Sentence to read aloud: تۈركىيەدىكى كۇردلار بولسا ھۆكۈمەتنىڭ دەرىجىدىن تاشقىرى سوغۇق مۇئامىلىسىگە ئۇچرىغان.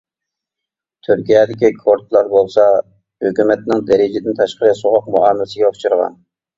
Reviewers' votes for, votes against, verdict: 2, 0, accepted